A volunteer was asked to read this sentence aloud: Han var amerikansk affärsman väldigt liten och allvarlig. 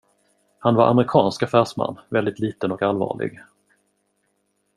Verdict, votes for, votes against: accepted, 2, 0